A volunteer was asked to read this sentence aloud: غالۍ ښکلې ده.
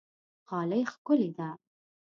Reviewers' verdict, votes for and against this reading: accepted, 2, 0